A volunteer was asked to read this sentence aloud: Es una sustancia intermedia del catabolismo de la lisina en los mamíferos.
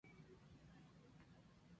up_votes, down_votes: 0, 2